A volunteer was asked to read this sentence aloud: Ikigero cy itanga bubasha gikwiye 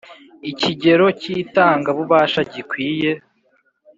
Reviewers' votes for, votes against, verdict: 3, 0, accepted